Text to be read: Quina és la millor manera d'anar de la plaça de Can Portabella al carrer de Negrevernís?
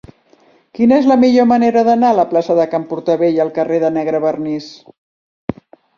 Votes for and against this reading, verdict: 1, 2, rejected